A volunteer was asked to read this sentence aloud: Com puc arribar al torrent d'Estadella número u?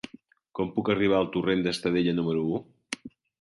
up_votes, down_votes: 4, 0